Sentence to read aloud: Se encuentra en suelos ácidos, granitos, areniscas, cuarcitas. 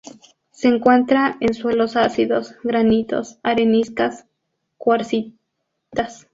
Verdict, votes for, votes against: rejected, 0, 4